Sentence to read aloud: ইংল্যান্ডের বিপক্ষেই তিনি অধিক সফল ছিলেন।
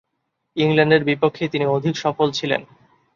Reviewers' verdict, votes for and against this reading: accepted, 2, 0